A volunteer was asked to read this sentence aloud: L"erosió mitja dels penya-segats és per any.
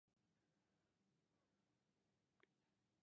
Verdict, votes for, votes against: rejected, 0, 2